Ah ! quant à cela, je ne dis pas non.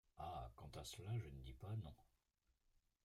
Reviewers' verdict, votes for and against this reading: rejected, 0, 2